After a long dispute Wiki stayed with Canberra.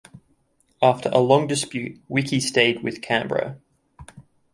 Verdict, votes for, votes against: accepted, 2, 1